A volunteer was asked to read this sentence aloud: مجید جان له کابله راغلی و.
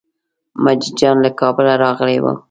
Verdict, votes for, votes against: accepted, 2, 0